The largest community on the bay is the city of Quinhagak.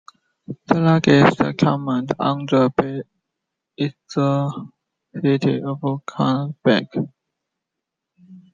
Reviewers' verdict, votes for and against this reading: rejected, 0, 2